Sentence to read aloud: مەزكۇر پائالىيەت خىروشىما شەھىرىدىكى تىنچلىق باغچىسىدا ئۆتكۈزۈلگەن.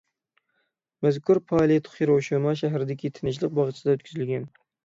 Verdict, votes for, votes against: accepted, 6, 0